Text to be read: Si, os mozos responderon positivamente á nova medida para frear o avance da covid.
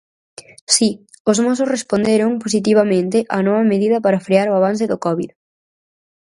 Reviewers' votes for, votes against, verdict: 0, 4, rejected